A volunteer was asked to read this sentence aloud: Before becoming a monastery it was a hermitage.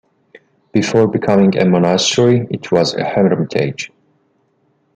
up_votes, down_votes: 1, 2